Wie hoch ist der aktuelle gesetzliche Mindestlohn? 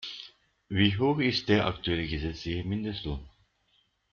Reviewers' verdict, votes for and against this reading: rejected, 0, 2